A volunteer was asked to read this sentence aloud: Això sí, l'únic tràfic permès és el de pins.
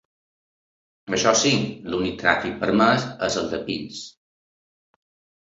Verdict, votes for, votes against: accepted, 2, 0